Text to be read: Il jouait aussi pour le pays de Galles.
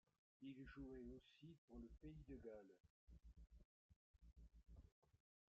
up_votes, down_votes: 1, 3